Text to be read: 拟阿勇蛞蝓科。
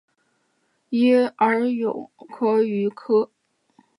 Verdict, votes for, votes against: accepted, 2, 1